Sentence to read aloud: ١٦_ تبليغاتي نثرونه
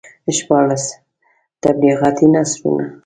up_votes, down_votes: 0, 2